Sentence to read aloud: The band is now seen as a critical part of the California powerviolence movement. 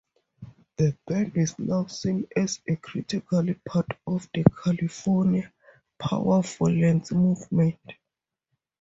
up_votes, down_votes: 4, 0